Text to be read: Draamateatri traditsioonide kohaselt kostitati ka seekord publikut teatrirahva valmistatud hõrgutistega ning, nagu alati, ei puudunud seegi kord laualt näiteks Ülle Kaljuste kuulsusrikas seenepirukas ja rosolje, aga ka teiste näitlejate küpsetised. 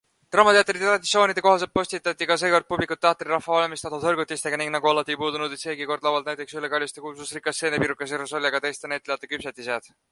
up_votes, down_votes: 2, 0